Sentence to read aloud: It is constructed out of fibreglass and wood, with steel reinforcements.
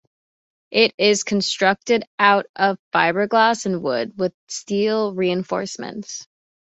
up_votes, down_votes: 2, 0